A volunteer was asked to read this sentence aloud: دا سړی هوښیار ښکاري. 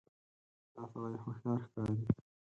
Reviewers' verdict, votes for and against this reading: rejected, 0, 4